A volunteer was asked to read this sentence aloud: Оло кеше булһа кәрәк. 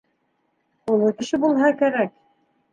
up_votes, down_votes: 2, 0